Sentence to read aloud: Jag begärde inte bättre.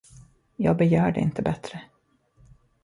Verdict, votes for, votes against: accepted, 2, 0